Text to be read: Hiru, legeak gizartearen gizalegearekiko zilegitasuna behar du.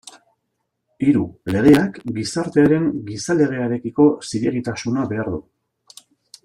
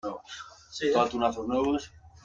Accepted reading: first